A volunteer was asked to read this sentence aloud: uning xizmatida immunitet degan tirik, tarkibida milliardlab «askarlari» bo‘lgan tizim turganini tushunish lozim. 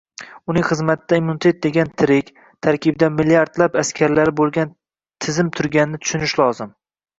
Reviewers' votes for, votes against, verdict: 0, 2, rejected